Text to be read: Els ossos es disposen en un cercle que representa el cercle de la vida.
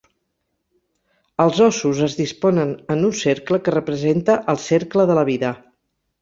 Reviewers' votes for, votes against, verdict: 0, 4, rejected